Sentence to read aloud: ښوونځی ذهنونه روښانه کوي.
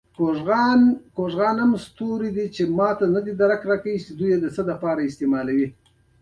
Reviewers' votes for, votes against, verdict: 2, 0, accepted